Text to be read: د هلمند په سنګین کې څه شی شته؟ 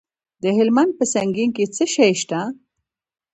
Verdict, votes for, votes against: rejected, 1, 2